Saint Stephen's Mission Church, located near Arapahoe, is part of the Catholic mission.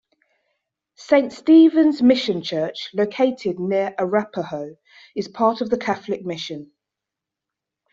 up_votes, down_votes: 2, 0